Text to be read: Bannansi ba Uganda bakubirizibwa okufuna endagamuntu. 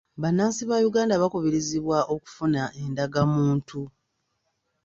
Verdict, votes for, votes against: accepted, 2, 0